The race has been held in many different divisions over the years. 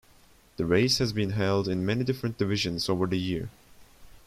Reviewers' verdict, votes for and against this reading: rejected, 1, 2